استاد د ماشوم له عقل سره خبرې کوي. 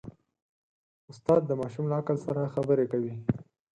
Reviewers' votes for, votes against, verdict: 6, 0, accepted